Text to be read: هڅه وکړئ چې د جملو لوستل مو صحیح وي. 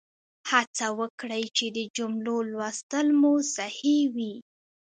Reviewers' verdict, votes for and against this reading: rejected, 1, 2